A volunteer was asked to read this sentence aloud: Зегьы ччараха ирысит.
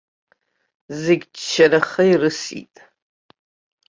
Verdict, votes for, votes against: accepted, 2, 1